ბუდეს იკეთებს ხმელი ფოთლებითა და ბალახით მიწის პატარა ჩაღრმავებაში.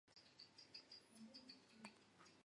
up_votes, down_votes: 0, 2